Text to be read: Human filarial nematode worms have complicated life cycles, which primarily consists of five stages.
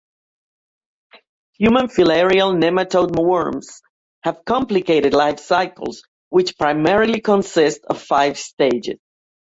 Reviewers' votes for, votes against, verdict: 1, 2, rejected